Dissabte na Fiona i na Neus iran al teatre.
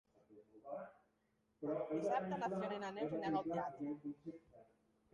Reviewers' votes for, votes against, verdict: 0, 2, rejected